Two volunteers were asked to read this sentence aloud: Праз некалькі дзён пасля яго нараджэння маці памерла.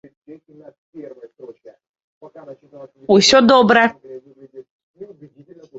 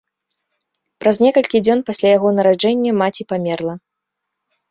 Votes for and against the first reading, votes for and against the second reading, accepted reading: 0, 3, 2, 0, second